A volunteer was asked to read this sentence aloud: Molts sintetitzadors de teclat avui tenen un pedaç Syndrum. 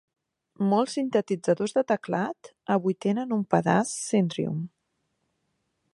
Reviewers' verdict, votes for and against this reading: accepted, 2, 0